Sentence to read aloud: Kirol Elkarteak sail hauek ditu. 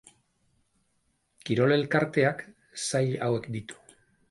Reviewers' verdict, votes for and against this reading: accepted, 4, 0